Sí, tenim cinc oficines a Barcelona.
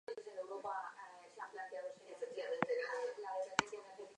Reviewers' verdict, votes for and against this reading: rejected, 0, 2